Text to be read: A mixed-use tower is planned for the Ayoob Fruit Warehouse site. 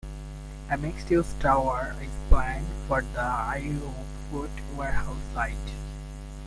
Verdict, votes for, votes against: rejected, 1, 2